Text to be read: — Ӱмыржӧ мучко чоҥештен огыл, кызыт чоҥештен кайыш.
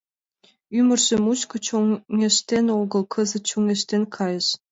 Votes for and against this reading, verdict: 4, 3, accepted